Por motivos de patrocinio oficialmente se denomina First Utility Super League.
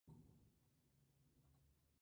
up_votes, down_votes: 0, 2